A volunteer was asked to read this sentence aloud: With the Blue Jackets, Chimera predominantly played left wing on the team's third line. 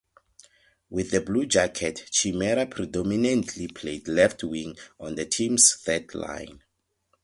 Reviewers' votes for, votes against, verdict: 0, 4, rejected